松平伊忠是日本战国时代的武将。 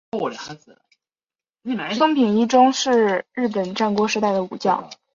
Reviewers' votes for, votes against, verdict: 0, 3, rejected